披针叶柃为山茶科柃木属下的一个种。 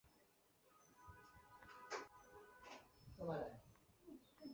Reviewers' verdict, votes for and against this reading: rejected, 5, 6